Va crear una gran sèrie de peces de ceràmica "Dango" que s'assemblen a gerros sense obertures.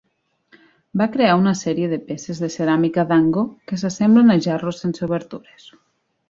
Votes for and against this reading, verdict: 0, 2, rejected